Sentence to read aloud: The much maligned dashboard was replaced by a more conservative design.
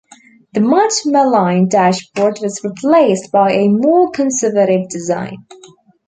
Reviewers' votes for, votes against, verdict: 1, 2, rejected